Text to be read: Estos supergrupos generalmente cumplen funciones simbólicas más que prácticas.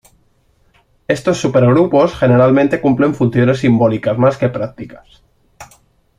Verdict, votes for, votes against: accepted, 2, 0